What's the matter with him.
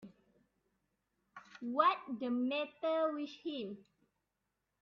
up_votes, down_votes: 1, 2